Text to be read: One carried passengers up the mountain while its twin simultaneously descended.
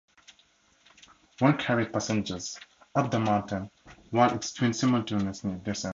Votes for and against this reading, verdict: 2, 0, accepted